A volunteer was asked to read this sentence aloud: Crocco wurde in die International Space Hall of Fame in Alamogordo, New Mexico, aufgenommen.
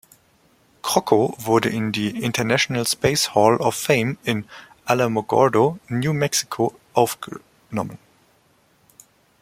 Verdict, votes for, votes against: rejected, 0, 2